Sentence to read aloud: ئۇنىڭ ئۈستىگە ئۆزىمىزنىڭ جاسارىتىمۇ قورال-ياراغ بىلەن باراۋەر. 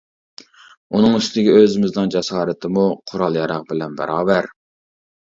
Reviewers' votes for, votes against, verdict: 2, 0, accepted